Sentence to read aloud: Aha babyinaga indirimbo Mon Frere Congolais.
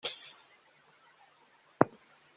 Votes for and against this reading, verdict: 0, 2, rejected